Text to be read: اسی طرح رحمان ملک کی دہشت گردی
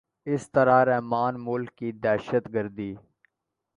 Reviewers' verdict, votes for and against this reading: rejected, 1, 2